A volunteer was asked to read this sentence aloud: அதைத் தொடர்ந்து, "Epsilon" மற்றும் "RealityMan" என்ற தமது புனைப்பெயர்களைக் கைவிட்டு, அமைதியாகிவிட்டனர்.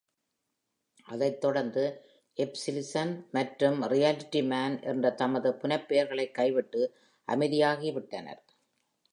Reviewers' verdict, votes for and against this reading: accepted, 2, 0